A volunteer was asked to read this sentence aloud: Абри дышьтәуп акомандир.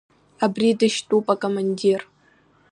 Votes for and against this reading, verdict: 2, 0, accepted